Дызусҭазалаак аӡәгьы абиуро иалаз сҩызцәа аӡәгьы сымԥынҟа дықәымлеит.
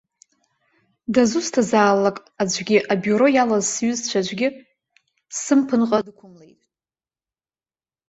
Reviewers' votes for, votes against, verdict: 0, 3, rejected